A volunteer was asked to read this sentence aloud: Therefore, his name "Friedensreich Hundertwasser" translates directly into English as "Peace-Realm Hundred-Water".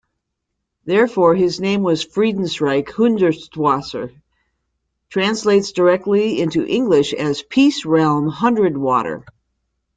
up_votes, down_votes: 1, 2